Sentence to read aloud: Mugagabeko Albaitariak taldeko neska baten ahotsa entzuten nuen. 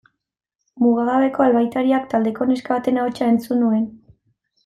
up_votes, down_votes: 1, 2